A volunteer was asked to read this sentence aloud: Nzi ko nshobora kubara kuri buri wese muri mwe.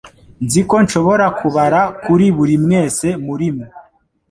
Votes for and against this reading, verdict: 2, 1, accepted